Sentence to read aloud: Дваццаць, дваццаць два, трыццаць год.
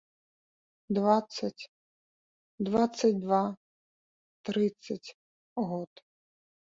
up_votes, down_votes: 2, 0